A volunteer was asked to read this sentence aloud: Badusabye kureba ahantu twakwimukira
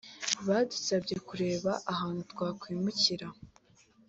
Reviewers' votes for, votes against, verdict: 2, 0, accepted